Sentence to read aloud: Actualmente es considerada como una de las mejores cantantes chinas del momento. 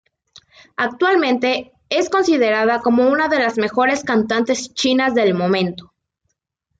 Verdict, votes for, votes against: accepted, 2, 0